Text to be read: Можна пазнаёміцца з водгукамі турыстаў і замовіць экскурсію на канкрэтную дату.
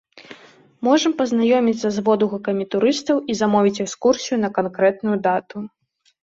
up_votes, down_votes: 0, 2